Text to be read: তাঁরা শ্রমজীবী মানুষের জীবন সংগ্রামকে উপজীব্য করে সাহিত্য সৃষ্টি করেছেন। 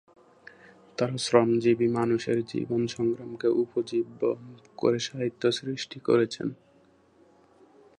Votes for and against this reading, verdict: 2, 0, accepted